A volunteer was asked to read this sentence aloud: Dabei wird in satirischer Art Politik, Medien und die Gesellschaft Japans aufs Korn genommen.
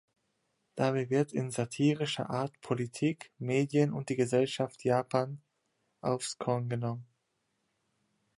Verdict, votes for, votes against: rejected, 1, 2